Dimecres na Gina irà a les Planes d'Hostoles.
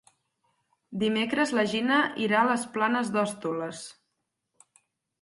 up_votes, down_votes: 2, 4